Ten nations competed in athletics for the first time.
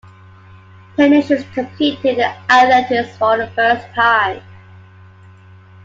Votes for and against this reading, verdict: 0, 2, rejected